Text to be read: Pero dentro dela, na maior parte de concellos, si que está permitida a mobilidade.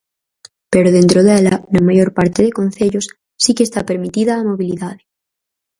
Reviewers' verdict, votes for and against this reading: accepted, 4, 0